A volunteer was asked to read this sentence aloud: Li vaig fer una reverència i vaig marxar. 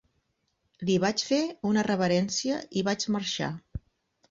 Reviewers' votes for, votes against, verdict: 6, 0, accepted